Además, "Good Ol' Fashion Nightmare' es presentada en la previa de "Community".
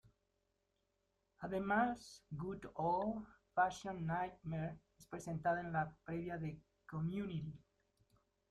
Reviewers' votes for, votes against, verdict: 1, 2, rejected